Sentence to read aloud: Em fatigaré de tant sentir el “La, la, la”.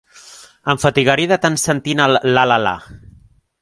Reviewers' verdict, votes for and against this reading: rejected, 0, 2